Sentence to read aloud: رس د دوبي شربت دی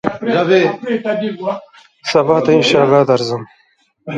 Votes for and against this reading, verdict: 0, 2, rejected